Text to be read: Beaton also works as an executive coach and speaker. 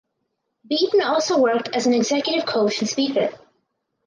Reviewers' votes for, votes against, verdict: 0, 4, rejected